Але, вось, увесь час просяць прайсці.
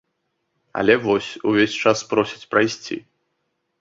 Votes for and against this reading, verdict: 2, 0, accepted